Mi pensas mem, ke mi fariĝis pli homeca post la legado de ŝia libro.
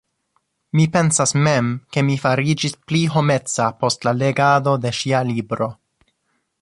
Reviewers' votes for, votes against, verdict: 2, 0, accepted